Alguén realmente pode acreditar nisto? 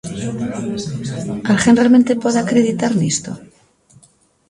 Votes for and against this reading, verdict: 2, 0, accepted